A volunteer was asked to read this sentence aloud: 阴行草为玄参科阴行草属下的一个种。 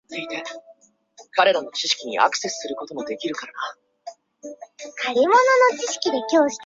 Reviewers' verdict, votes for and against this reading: rejected, 0, 3